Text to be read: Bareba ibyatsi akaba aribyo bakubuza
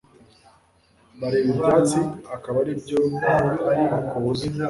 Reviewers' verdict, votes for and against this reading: accepted, 2, 0